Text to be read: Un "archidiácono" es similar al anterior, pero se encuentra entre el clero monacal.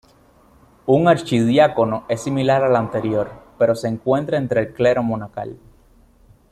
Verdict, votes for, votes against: accepted, 2, 0